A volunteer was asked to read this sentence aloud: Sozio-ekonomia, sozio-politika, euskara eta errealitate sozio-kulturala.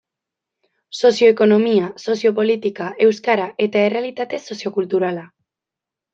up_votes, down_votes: 2, 0